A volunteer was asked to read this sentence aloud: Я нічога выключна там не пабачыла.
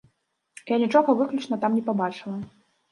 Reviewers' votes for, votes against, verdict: 1, 2, rejected